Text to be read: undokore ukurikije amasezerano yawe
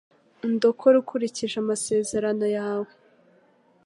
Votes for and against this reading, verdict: 2, 0, accepted